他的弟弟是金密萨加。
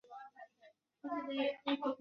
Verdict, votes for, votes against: rejected, 0, 2